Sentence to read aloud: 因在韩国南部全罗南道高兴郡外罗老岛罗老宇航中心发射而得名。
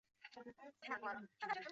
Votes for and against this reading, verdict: 0, 3, rejected